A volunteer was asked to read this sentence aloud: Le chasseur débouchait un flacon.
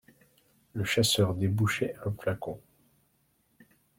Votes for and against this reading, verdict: 2, 0, accepted